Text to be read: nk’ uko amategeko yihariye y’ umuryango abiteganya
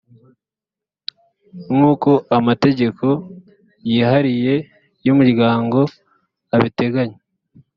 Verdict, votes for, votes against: accepted, 2, 0